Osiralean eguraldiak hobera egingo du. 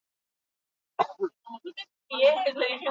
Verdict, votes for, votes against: rejected, 0, 4